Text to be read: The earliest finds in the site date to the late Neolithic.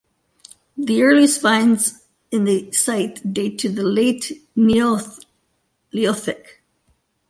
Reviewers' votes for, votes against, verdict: 2, 1, accepted